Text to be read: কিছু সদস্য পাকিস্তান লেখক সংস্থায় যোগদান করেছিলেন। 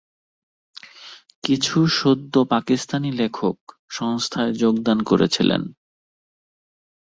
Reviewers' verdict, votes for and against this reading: rejected, 0, 2